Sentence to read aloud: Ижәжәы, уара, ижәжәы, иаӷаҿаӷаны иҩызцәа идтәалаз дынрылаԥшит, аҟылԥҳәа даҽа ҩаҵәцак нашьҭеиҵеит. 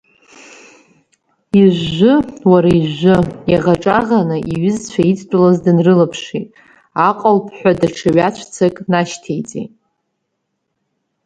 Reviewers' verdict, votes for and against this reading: accepted, 14, 2